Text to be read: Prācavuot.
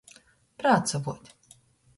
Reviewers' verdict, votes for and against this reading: accepted, 2, 0